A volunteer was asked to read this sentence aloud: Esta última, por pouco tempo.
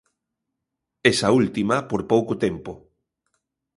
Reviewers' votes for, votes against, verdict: 0, 3, rejected